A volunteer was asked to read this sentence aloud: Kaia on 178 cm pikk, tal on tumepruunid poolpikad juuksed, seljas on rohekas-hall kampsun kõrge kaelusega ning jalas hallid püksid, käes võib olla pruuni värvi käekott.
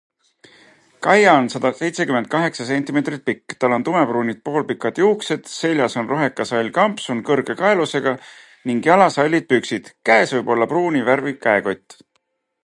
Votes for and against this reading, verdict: 0, 2, rejected